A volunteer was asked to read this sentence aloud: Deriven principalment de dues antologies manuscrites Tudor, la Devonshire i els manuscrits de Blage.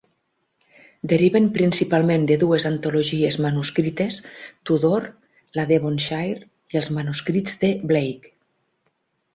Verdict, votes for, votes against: accepted, 4, 0